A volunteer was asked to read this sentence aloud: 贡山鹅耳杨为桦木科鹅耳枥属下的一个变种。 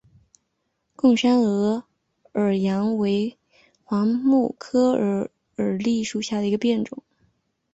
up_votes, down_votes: 2, 0